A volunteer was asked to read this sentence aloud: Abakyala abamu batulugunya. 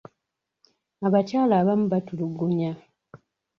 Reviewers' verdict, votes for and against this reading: accepted, 2, 0